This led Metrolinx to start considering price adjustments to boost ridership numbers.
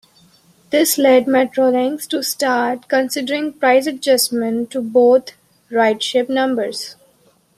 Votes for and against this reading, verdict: 0, 2, rejected